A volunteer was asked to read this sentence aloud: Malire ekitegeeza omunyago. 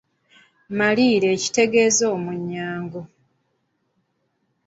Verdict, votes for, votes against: rejected, 1, 2